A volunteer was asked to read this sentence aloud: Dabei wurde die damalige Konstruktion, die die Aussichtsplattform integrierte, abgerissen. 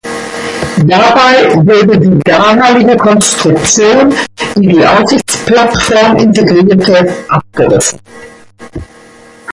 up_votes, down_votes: 0, 2